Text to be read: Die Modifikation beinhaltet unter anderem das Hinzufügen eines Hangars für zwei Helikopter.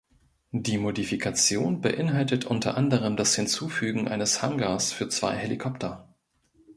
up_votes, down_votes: 2, 0